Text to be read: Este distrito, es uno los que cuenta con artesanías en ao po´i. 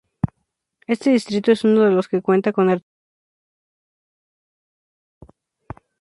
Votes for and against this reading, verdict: 0, 2, rejected